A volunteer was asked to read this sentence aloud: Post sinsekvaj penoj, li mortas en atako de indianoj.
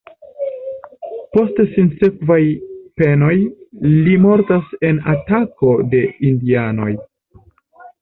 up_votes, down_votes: 1, 2